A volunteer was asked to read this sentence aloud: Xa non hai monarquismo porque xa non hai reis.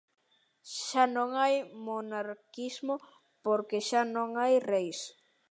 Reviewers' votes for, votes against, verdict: 2, 0, accepted